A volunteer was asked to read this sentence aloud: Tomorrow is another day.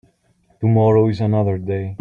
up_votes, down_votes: 3, 0